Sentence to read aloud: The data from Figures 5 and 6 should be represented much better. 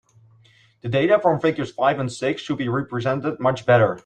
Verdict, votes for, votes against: rejected, 0, 2